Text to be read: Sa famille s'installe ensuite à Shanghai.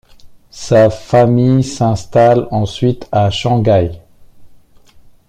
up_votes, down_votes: 2, 0